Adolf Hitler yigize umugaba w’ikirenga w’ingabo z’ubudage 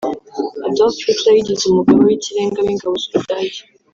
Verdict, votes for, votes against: rejected, 0, 2